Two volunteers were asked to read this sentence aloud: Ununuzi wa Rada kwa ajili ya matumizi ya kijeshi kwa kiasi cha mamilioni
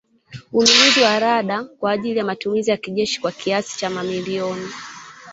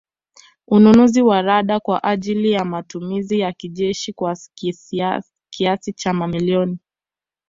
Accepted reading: second